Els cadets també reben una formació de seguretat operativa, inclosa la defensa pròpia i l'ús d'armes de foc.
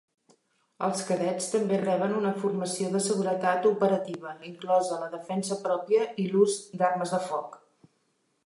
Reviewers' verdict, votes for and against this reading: accepted, 2, 0